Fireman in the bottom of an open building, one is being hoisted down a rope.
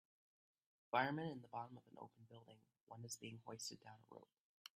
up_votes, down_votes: 1, 2